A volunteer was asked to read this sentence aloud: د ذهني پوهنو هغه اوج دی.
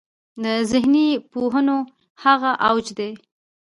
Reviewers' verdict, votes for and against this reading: rejected, 1, 2